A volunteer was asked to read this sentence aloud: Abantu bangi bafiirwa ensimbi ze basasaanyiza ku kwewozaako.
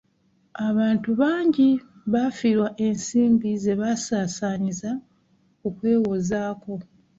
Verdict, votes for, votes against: accepted, 2, 0